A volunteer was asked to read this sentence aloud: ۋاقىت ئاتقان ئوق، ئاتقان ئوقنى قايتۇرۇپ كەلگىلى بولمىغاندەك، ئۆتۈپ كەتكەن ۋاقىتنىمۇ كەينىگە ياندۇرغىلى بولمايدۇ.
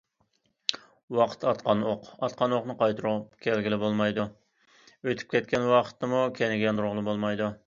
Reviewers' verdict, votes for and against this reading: rejected, 1, 2